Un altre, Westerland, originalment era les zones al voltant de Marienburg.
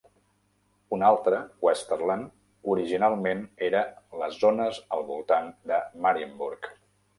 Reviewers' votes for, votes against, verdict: 3, 0, accepted